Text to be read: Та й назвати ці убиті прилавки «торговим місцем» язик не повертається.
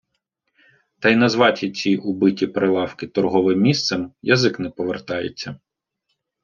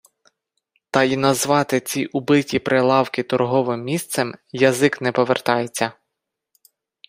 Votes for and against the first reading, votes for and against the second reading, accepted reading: 0, 2, 4, 2, second